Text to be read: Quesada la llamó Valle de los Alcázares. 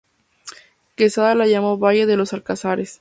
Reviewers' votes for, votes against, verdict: 2, 0, accepted